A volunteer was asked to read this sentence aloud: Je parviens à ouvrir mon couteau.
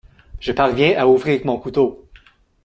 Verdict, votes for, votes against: accepted, 2, 0